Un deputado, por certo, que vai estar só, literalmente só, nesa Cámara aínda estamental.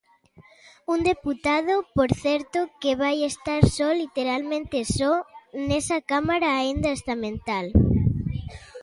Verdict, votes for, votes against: accepted, 2, 0